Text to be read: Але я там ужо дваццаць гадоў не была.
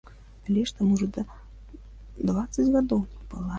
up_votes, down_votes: 0, 2